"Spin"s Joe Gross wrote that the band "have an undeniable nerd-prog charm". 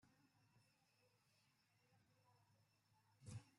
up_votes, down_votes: 0, 2